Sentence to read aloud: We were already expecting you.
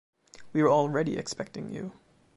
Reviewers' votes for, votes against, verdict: 1, 2, rejected